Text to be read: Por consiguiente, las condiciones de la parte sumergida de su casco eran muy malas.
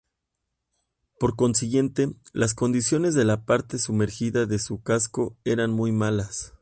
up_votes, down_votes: 2, 0